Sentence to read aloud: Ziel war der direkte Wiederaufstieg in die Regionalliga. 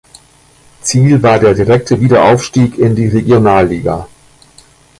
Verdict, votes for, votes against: accepted, 3, 1